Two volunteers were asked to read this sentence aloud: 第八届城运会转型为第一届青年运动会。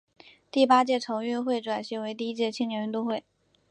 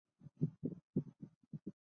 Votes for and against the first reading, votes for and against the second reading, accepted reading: 8, 0, 0, 2, first